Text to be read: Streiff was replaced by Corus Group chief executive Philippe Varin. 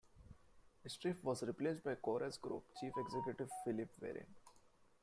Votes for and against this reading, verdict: 0, 2, rejected